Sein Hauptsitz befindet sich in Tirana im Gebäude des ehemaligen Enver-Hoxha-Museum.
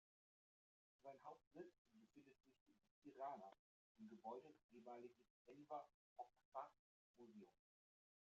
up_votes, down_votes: 0, 3